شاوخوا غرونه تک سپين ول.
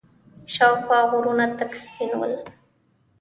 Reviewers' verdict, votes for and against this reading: rejected, 1, 2